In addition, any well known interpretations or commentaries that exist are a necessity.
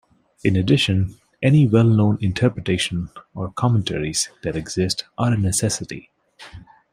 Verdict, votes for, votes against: rejected, 0, 2